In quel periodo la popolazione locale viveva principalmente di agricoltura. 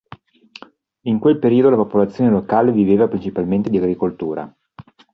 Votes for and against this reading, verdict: 2, 0, accepted